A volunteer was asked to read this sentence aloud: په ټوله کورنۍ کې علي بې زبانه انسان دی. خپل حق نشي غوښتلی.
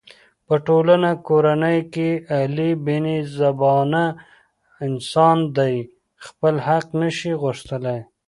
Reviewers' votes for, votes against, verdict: 0, 2, rejected